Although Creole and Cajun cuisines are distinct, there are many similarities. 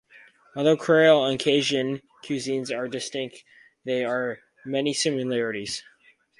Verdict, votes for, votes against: rejected, 2, 4